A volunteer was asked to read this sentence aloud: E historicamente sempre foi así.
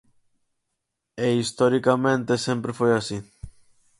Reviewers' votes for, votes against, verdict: 4, 0, accepted